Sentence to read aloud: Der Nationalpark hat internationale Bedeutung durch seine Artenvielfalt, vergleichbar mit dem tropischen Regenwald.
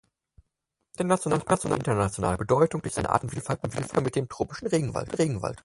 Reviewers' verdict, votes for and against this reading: rejected, 0, 4